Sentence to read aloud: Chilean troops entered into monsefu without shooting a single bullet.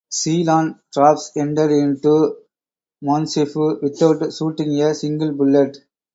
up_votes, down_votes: 0, 4